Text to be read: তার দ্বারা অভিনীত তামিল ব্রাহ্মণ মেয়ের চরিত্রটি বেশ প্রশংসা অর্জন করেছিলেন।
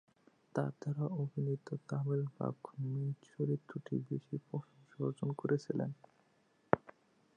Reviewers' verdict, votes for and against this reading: rejected, 0, 2